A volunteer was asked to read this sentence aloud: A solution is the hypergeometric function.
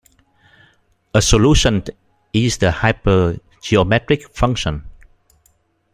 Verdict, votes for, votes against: accepted, 2, 1